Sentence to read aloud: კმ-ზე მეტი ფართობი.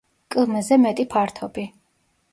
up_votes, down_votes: 1, 2